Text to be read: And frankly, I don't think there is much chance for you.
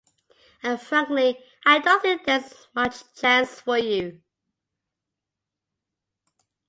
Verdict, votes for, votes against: accepted, 2, 0